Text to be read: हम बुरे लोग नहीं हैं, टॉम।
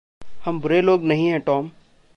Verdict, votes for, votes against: accepted, 2, 0